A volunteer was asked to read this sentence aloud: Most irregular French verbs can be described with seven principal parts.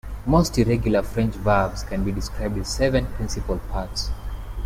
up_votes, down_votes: 2, 0